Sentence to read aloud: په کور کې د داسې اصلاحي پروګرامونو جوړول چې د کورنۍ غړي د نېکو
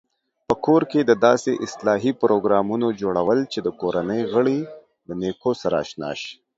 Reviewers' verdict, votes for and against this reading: rejected, 0, 2